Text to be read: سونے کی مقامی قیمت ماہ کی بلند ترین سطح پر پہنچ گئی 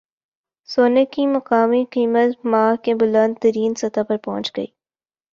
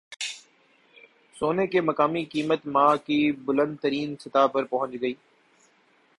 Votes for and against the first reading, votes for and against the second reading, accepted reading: 1, 2, 2, 0, second